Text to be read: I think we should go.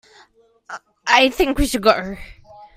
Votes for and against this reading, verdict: 0, 2, rejected